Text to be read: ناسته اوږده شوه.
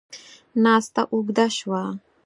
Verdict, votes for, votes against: accepted, 4, 0